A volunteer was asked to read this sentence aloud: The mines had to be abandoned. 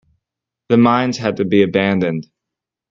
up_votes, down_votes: 2, 0